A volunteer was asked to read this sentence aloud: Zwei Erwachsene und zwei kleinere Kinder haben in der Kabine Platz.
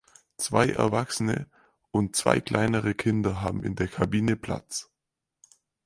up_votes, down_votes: 4, 0